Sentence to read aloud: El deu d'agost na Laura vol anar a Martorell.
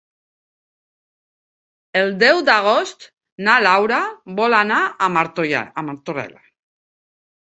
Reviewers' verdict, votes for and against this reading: rejected, 0, 2